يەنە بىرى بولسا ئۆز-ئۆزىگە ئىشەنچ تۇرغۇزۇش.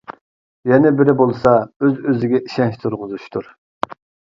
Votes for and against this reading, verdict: 0, 2, rejected